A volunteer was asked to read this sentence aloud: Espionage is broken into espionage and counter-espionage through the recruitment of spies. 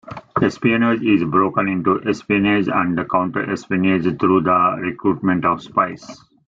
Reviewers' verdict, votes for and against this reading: accepted, 2, 0